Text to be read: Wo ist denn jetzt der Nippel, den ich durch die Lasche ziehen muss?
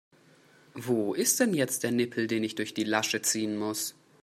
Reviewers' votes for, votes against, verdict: 2, 1, accepted